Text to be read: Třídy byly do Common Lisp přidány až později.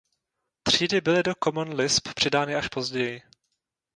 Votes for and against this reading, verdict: 2, 0, accepted